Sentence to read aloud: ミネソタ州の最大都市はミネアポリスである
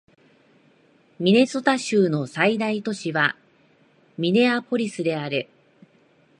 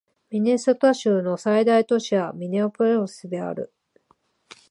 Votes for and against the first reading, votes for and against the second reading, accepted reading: 2, 0, 11, 12, first